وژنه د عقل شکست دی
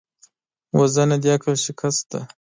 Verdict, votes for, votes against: rejected, 1, 2